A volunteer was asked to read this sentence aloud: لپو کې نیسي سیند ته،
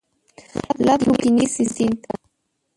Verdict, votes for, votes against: rejected, 1, 2